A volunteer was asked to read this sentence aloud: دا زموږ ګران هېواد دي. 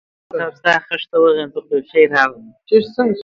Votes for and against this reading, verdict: 0, 4, rejected